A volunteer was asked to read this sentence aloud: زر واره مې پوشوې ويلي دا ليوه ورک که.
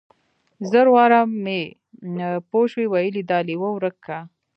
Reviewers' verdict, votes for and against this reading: rejected, 1, 3